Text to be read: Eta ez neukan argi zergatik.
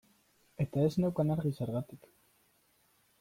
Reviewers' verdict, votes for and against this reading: accepted, 2, 1